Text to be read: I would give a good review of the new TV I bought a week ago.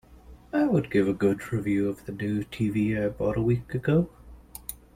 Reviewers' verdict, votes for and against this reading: accepted, 2, 0